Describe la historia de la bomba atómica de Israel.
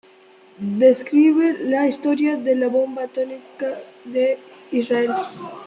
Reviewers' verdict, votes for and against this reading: rejected, 0, 2